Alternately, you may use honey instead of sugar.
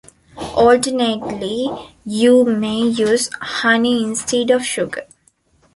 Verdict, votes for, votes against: accepted, 2, 0